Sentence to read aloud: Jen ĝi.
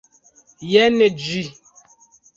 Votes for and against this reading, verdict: 2, 0, accepted